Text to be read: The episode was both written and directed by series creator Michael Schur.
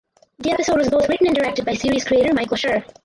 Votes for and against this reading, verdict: 0, 4, rejected